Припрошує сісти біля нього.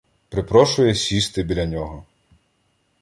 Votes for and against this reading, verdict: 2, 0, accepted